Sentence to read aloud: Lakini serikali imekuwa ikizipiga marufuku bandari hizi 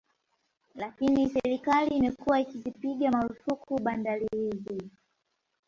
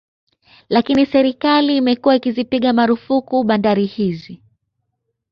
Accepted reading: second